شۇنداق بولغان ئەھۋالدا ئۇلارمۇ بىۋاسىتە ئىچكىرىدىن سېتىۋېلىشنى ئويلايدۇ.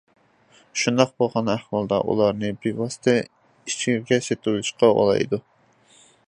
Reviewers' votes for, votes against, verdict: 0, 2, rejected